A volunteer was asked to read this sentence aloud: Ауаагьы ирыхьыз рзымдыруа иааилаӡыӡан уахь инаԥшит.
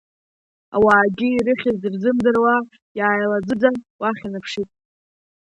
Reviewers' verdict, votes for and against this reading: accepted, 2, 0